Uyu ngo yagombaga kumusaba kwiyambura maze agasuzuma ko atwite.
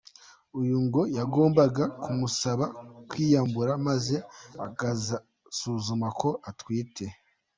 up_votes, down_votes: 1, 2